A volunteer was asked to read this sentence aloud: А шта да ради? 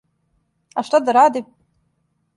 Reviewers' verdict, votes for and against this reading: accepted, 2, 0